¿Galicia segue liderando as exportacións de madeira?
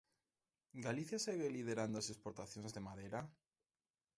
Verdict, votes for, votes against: accepted, 2, 0